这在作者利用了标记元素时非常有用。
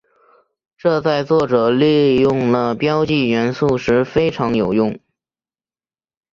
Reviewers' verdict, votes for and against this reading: accepted, 4, 0